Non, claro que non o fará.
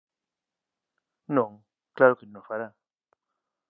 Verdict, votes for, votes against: rejected, 0, 2